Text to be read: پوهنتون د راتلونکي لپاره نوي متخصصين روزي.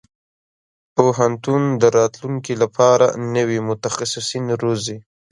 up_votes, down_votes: 2, 0